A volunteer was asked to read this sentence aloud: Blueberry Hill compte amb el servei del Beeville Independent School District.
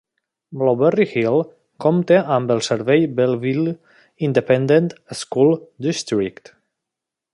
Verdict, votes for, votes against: rejected, 0, 2